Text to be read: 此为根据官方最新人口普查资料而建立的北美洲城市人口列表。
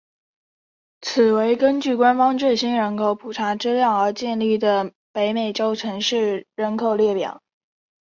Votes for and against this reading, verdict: 5, 0, accepted